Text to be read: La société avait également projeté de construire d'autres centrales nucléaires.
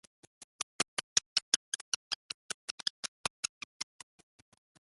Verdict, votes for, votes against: rejected, 0, 2